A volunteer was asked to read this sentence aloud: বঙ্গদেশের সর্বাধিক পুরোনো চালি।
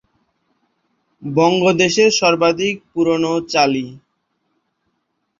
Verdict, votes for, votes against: accepted, 2, 0